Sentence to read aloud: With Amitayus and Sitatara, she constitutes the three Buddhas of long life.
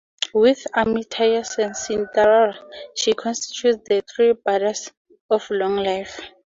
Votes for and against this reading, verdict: 0, 2, rejected